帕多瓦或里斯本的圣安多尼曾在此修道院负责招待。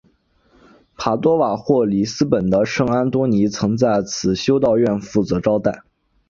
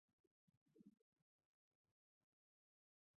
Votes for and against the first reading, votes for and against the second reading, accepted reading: 4, 0, 0, 2, first